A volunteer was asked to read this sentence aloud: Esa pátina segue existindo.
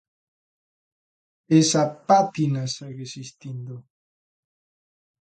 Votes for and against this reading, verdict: 2, 0, accepted